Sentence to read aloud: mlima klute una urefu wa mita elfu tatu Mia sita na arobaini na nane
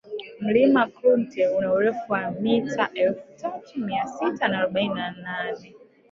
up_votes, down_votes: 1, 2